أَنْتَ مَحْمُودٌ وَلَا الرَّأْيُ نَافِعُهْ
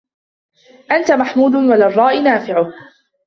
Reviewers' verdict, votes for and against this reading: rejected, 1, 2